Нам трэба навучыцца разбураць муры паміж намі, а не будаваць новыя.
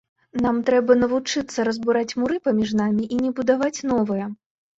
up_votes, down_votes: 2, 1